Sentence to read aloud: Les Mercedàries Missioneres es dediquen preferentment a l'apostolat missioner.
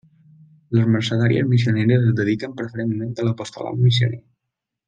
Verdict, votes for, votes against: accepted, 2, 0